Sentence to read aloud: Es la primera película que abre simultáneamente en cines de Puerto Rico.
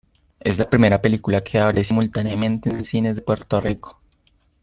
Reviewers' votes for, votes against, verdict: 2, 0, accepted